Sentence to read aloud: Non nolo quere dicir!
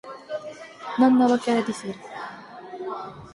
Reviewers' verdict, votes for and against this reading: rejected, 2, 4